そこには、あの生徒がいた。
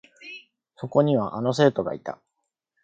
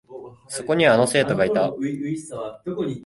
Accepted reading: first